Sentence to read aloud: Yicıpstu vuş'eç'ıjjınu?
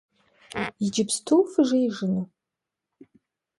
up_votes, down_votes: 1, 2